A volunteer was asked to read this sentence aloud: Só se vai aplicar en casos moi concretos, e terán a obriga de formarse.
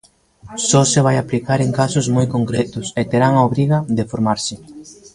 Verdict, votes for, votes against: accepted, 2, 1